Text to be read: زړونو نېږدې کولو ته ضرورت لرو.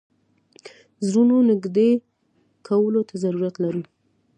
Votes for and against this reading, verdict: 1, 2, rejected